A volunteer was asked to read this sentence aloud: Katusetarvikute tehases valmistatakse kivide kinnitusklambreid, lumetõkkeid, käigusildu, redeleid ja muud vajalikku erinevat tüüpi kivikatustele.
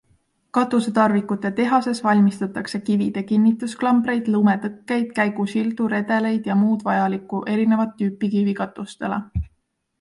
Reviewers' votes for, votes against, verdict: 2, 0, accepted